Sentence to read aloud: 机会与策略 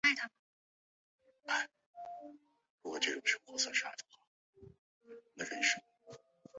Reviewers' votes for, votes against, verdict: 1, 2, rejected